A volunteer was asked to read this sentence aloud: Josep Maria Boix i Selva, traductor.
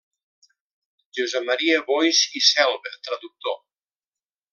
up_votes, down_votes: 2, 0